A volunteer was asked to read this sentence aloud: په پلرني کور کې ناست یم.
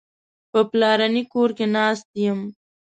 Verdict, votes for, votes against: accepted, 2, 0